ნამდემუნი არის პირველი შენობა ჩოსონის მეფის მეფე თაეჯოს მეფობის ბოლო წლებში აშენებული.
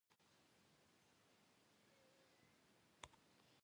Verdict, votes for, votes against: rejected, 1, 2